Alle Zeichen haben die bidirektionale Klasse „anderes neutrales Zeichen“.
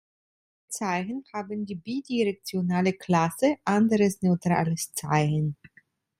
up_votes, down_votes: 0, 2